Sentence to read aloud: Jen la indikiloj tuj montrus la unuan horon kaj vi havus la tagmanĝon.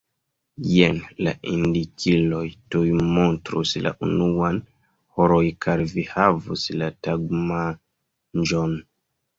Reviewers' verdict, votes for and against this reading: rejected, 0, 2